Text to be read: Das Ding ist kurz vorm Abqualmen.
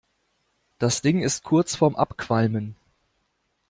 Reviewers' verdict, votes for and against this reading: accepted, 2, 0